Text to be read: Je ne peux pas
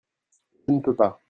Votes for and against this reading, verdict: 0, 2, rejected